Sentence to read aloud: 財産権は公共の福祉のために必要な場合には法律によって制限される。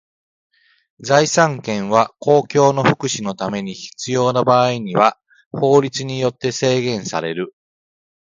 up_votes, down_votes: 2, 0